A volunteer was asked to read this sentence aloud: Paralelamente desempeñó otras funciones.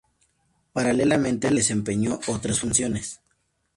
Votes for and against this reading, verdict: 2, 2, rejected